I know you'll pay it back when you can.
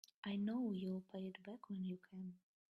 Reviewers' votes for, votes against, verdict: 2, 1, accepted